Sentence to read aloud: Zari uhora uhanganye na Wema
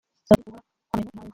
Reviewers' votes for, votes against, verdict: 0, 2, rejected